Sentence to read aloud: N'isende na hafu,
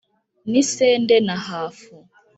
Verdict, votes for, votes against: accepted, 2, 0